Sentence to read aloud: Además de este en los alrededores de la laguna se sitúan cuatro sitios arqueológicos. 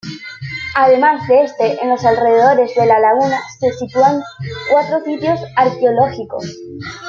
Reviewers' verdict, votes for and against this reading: rejected, 1, 2